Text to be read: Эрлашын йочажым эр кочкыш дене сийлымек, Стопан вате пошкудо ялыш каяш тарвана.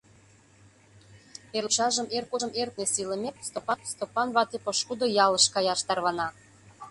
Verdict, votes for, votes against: rejected, 0, 2